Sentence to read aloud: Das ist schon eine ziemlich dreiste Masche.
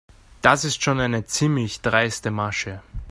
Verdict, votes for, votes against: accepted, 3, 0